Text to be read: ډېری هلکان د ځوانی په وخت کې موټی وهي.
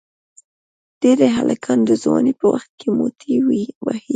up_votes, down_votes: 2, 0